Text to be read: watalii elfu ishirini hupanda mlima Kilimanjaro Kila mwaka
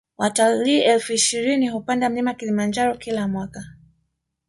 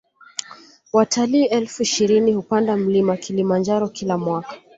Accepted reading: second